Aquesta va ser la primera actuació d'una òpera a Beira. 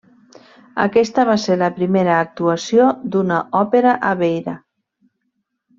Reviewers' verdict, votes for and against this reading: accepted, 2, 0